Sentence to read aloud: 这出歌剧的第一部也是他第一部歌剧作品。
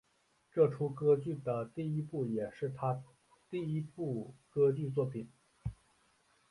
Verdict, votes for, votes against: rejected, 0, 2